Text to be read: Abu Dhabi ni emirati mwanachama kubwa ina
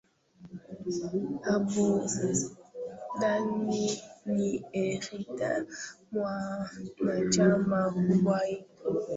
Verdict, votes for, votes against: rejected, 0, 2